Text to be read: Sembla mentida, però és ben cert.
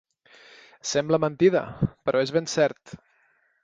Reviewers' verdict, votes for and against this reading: accepted, 3, 0